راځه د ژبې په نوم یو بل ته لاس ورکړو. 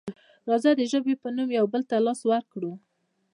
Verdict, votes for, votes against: accepted, 2, 1